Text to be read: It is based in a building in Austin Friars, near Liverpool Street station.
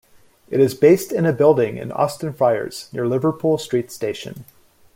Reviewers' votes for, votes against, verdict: 2, 0, accepted